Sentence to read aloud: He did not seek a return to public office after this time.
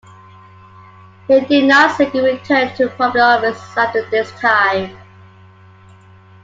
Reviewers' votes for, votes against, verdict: 1, 2, rejected